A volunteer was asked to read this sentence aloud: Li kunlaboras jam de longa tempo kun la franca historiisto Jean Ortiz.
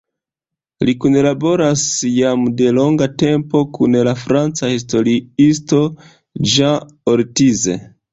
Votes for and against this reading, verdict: 1, 2, rejected